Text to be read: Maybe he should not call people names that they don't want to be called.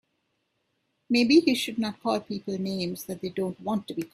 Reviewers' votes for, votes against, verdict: 2, 8, rejected